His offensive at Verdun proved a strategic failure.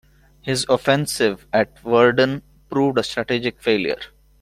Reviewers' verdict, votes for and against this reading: rejected, 0, 2